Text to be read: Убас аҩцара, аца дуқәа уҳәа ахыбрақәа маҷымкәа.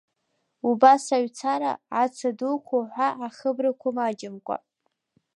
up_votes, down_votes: 0, 2